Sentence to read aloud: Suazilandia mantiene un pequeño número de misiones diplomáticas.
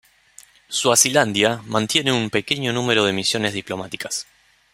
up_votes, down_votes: 2, 0